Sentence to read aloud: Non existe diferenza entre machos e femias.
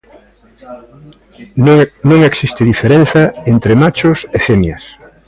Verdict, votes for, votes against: accepted, 2, 1